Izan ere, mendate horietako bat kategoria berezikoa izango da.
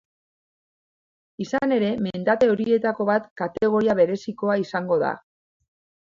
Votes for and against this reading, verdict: 2, 0, accepted